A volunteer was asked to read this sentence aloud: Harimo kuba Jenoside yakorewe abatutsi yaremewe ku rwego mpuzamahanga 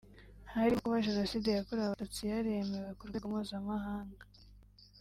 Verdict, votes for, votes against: accepted, 2, 1